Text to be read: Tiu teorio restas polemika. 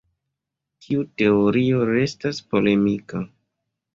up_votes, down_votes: 2, 0